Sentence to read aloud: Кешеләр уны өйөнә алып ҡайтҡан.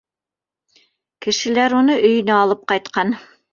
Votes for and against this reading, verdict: 0, 2, rejected